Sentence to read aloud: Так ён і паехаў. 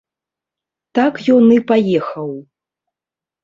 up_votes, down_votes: 2, 0